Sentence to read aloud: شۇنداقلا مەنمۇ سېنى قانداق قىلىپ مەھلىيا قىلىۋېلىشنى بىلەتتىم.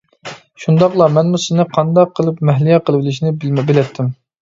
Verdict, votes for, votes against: rejected, 0, 2